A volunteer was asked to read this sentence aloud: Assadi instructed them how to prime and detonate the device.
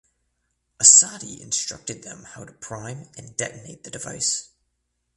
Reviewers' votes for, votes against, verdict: 2, 0, accepted